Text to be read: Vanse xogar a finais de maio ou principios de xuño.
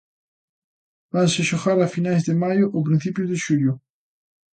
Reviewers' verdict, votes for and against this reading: accepted, 2, 1